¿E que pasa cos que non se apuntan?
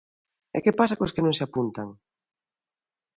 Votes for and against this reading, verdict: 2, 0, accepted